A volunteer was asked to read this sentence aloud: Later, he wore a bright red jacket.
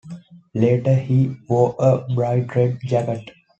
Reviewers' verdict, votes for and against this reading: accepted, 2, 0